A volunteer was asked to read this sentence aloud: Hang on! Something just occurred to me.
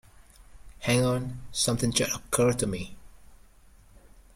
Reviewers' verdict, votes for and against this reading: rejected, 0, 2